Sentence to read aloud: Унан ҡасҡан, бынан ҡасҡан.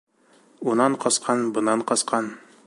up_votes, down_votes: 1, 2